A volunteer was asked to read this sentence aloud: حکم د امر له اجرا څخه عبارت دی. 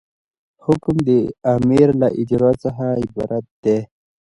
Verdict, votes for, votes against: rejected, 1, 2